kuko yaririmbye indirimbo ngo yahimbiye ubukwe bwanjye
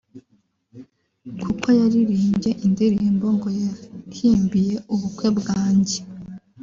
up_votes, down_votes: 2, 1